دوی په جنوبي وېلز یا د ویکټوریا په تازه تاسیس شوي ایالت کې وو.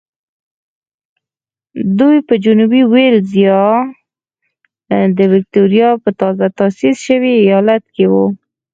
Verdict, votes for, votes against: accepted, 4, 2